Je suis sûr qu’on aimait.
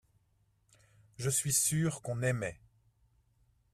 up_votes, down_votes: 2, 0